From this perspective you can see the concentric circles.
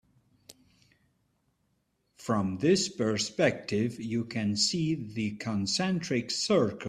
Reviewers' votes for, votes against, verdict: 1, 3, rejected